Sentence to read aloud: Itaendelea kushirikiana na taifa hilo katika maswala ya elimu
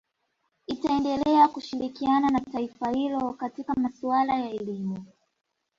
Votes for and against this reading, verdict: 0, 2, rejected